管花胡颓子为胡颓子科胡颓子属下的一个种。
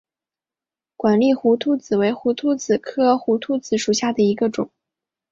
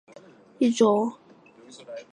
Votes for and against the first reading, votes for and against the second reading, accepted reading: 2, 1, 2, 6, first